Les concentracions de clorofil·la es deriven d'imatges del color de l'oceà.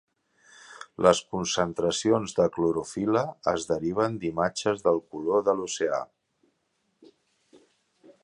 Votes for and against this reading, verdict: 2, 0, accepted